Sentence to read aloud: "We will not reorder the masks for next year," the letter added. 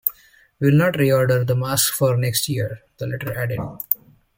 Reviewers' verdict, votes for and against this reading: rejected, 1, 2